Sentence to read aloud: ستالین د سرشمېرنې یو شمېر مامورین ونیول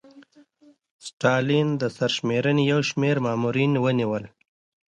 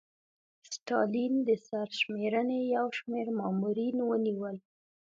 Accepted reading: first